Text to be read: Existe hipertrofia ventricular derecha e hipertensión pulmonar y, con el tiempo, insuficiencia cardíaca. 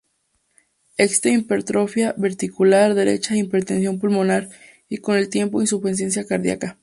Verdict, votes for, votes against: rejected, 0, 2